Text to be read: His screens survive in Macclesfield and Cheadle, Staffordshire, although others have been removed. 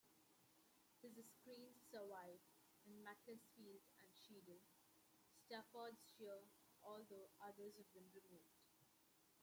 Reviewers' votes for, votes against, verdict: 0, 2, rejected